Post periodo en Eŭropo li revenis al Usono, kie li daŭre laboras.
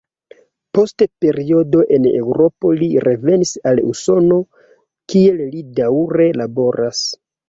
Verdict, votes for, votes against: rejected, 0, 2